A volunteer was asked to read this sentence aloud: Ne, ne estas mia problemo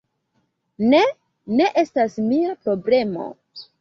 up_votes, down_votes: 1, 2